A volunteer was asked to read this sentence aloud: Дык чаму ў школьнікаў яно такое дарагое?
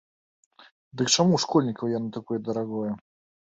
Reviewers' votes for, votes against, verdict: 2, 0, accepted